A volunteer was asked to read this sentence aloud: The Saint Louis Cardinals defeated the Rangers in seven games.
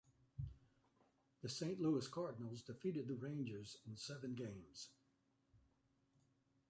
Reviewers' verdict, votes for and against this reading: accepted, 2, 0